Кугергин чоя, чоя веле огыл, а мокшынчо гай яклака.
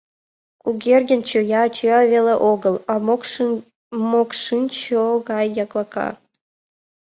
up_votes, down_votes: 1, 2